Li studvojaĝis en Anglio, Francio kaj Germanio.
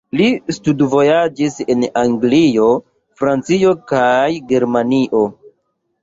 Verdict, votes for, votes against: rejected, 0, 2